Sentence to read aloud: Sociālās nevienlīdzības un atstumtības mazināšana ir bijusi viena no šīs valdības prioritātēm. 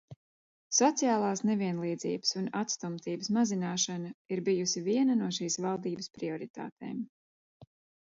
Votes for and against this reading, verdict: 2, 0, accepted